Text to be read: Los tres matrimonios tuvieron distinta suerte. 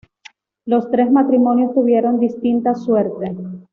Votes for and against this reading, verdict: 2, 0, accepted